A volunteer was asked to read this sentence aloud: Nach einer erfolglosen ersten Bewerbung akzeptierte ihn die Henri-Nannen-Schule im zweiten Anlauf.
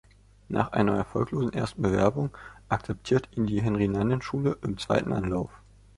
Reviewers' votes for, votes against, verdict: 0, 2, rejected